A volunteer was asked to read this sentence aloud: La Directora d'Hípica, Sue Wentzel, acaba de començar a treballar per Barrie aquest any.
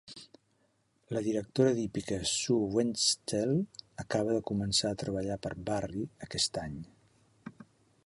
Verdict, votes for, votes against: accepted, 2, 1